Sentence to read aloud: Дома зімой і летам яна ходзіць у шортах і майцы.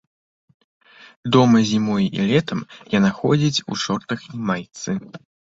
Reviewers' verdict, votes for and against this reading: accepted, 2, 0